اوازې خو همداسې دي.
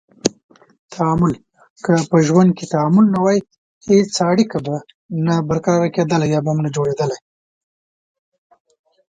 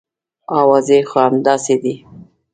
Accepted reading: second